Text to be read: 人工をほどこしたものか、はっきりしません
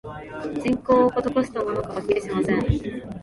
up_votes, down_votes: 1, 2